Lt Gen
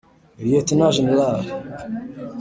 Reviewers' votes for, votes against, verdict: 1, 2, rejected